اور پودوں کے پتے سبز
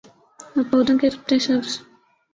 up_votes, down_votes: 3, 4